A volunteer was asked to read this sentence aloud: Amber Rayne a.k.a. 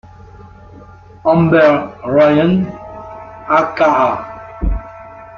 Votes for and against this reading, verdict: 1, 2, rejected